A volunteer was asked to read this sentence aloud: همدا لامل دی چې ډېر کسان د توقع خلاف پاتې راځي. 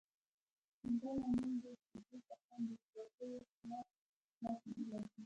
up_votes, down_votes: 0, 2